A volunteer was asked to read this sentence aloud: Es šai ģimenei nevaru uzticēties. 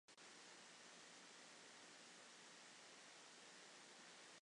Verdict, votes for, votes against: rejected, 0, 2